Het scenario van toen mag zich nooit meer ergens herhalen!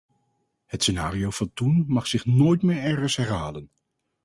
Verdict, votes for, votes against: accepted, 4, 0